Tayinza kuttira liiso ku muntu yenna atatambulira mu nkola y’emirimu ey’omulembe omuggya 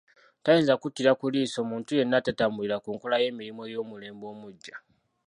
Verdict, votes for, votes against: rejected, 1, 2